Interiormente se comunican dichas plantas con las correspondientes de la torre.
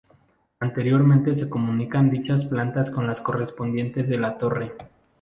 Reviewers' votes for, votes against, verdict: 2, 0, accepted